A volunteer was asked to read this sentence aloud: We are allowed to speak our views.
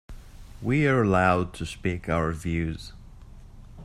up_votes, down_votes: 2, 0